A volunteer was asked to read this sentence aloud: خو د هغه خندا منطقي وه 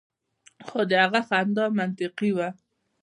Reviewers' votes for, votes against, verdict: 2, 0, accepted